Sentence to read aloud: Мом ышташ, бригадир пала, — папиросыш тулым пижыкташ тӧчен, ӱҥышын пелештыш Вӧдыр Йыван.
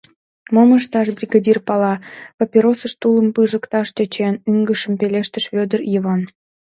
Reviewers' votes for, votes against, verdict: 1, 2, rejected